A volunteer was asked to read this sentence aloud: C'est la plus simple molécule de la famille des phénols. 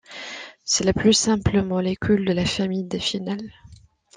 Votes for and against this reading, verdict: 1, 2, rejected